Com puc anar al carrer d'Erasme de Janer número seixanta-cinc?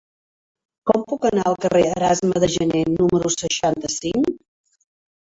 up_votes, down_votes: 2, 3